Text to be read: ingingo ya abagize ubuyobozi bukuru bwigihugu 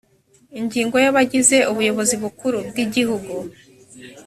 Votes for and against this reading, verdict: 3, 0, accepted